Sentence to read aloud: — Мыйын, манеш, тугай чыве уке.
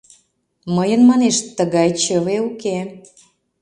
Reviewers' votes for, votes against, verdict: 0, 2, rejected